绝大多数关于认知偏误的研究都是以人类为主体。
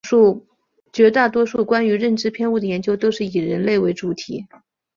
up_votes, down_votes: 3, 0